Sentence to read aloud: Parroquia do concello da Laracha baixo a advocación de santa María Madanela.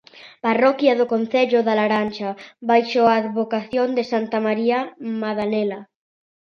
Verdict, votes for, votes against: rejected, 0, 2